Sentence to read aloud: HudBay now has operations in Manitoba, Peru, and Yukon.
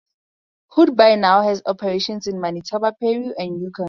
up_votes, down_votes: 4, 4